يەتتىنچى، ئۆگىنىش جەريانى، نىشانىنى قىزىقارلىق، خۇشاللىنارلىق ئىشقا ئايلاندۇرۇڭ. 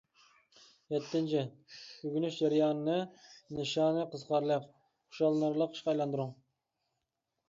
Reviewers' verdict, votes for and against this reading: rejected, 0, 2